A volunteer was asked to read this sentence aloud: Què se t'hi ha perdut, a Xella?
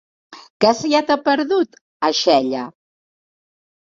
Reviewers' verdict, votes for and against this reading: accepted, 2, 1